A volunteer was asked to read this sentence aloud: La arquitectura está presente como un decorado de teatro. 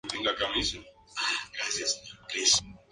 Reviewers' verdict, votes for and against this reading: rejected, 0, 2